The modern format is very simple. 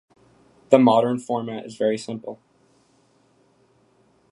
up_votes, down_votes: 2, 0